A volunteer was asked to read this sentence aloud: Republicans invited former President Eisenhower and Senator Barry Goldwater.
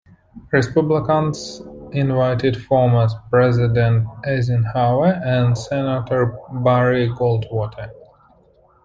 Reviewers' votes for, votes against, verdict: 0, 2, rejected